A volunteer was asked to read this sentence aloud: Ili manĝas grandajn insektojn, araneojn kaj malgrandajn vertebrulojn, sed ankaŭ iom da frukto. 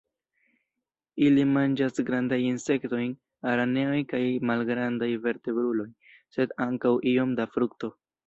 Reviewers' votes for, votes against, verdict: 2, 0, accepted